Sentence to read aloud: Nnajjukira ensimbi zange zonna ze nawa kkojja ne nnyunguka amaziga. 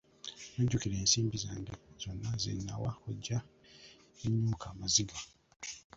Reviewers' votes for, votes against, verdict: 1, 2, rejected